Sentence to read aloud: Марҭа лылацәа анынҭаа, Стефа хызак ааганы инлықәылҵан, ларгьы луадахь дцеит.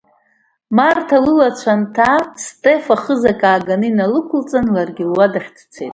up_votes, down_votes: 2, 1